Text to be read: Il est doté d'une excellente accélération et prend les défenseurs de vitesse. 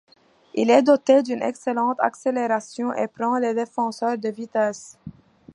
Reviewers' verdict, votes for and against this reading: accepted, 2, 1